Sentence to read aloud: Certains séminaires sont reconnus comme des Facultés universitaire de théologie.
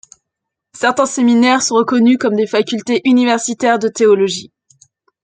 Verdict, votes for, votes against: rejected, 0, 2